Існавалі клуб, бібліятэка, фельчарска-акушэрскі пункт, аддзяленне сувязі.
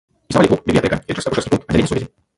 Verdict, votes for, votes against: rejected, 0, 3